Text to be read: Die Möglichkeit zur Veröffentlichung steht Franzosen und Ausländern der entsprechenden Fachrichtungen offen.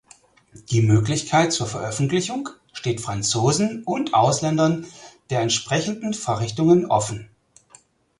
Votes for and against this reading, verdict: 4, 0, accepted